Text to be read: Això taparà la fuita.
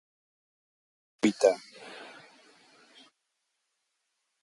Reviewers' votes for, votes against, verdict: 1, 2, rejected